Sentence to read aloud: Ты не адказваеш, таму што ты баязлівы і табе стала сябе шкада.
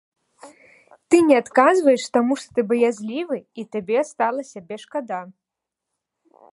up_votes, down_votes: 2, 0